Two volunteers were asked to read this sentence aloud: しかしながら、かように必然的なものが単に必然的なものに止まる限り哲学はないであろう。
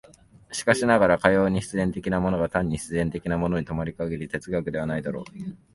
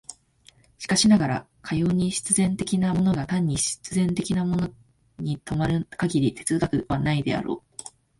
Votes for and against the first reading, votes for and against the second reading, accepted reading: 1, 2, 2, 1, second